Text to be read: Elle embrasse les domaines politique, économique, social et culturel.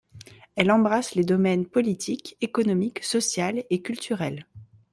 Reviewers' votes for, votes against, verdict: 3, 0, accepted